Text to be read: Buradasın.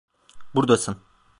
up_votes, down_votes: 1, 2